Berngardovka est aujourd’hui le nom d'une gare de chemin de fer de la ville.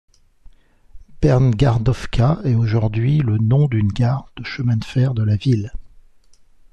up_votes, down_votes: 2, 0